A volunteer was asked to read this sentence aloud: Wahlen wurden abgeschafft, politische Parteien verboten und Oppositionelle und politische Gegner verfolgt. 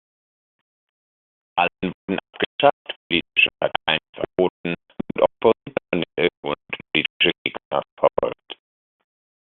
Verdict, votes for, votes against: rejected, 0, 2